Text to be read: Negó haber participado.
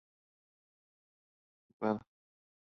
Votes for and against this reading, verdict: 0, 2, rejected